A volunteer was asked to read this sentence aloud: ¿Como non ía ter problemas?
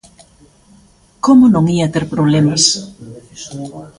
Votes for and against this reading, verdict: 2, 1, accepted